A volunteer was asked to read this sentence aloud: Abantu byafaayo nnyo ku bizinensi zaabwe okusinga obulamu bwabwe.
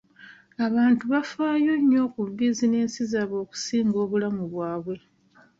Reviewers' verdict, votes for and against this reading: accepted, 2, 0